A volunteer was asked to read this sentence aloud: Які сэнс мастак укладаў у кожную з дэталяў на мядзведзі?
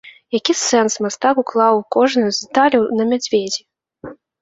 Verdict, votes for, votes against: rejected, 0, 2